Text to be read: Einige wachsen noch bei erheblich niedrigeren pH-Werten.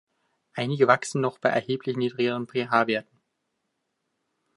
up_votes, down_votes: 1, 2